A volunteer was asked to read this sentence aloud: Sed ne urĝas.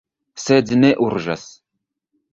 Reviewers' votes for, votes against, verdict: 1, 2, rejected